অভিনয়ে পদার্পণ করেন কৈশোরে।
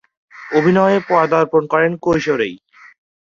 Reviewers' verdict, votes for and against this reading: rejected, 0, 2